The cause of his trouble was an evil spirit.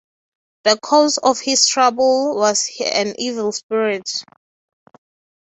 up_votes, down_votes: 6, 0